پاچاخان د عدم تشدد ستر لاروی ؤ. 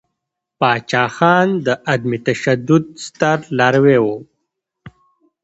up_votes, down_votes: 2, 0